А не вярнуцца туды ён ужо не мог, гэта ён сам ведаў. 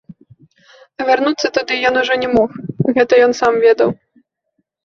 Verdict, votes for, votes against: rejected, 0, 2